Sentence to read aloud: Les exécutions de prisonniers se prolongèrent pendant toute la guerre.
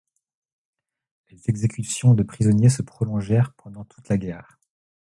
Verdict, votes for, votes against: rejected, 0, 2